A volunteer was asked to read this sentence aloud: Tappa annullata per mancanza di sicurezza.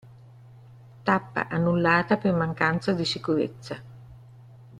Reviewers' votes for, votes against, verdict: 2, 1, accepted